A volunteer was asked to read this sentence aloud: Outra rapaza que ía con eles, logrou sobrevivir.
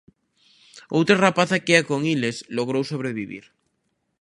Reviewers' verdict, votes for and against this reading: accepted, 2, 0